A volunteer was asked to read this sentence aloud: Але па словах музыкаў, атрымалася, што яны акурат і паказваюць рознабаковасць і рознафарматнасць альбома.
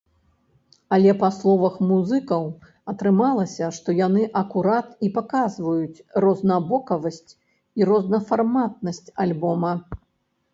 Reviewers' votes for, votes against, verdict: 0, 2, rejected